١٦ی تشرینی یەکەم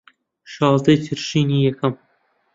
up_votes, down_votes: 0, 2